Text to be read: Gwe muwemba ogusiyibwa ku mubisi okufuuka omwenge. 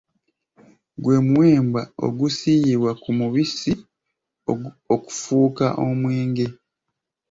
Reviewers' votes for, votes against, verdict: 1, 2, rejected